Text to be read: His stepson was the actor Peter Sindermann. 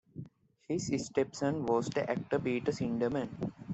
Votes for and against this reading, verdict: 2, 1, accepted